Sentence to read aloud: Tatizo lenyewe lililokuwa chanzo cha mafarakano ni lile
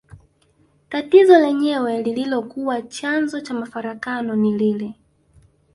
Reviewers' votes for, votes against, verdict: 2, 0, accepted